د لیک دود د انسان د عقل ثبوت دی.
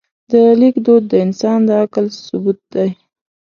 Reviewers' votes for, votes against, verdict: 2, 0, accepted